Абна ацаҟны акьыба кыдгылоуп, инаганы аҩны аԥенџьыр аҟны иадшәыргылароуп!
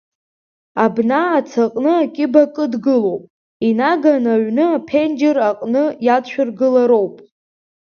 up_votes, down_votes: 2, 0